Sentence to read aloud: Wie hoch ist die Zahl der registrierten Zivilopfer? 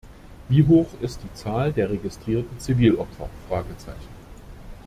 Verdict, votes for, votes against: rejected, 1, 2